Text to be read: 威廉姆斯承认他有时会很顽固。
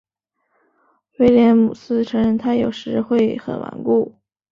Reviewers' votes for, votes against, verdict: 2, 0, accepted